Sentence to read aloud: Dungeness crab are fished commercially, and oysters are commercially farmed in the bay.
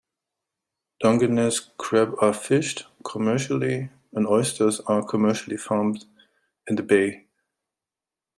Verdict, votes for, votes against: accepted, 3, 0